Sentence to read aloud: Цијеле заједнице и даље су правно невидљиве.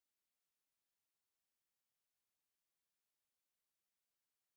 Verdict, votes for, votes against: rejected, 0, 2